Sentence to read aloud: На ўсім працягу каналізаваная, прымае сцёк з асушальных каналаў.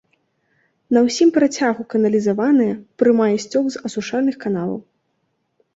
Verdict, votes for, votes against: accepted, 2, 1